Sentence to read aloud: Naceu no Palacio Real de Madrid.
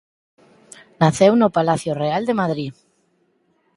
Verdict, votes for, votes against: rejected, 2, 4